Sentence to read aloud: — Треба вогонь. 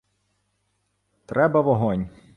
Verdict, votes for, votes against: accepted, 2, 0